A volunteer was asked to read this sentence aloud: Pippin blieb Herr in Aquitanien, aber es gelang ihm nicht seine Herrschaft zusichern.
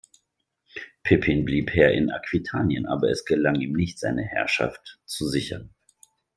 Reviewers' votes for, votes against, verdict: 2, 0, accepted